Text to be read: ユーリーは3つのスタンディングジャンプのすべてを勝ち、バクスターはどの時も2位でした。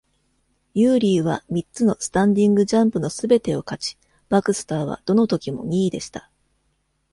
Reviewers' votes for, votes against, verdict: 0, 2, rejected